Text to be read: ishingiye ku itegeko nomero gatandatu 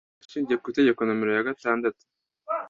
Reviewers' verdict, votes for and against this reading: rejected, 0, 2